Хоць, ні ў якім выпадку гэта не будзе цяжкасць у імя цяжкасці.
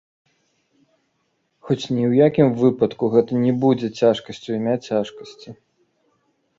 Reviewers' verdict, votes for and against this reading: rejected, 1, 2